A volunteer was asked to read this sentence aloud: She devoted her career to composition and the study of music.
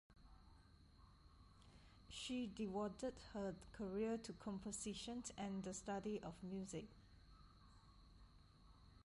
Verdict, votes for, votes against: accepted, 2, 1